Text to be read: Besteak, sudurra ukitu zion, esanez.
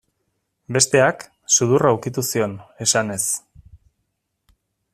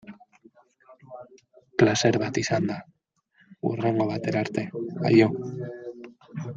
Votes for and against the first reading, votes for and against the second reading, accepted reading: 2, 0, 0, 2, first